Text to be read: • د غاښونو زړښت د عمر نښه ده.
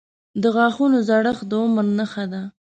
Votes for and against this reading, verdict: 2, 0, accepted